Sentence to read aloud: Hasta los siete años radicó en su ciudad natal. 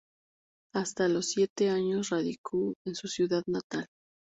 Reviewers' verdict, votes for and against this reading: accepted, 4, 0